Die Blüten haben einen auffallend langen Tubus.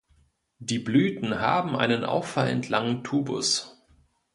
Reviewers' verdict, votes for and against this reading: accepted, 2, 0